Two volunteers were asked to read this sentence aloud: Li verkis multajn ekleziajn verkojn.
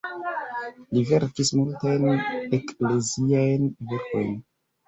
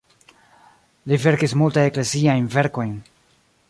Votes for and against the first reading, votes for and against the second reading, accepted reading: 1, 2, 2, 0, second